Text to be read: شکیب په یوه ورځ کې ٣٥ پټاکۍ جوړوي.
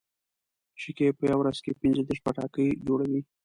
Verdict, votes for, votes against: rejected, 0, 2